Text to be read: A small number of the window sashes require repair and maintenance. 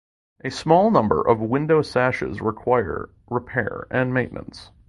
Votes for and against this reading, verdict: 2, 0, accepted